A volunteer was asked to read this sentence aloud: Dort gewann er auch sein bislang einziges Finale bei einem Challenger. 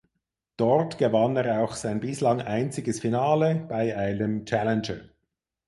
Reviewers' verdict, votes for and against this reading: accepted, 4, 0